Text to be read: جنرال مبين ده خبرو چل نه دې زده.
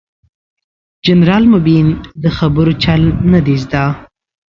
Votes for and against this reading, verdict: 2, 0, accepted